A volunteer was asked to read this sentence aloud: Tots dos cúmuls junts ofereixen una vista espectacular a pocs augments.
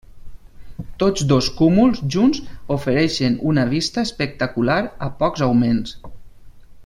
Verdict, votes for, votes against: accepted, 4, 0